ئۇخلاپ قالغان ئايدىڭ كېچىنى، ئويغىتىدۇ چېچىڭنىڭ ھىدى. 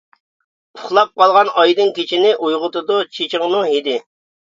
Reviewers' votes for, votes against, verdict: 2, 0, accepted